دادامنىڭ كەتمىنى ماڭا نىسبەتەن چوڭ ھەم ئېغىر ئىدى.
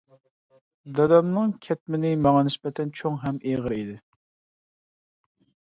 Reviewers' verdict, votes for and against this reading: accepted, 2, 0